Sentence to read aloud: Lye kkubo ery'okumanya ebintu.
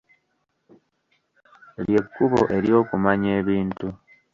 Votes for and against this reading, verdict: 1, 2, rejected